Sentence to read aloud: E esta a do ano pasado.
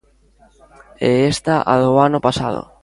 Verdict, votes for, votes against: accepted, 2, 0